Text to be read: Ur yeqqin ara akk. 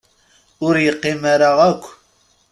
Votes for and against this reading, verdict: 1, 2, rejected